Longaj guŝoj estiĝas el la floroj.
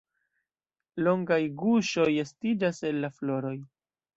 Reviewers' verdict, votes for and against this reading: accepted, 2, 0